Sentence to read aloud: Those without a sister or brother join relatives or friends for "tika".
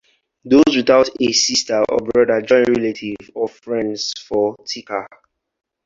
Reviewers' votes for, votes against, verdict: 2, 2, rejected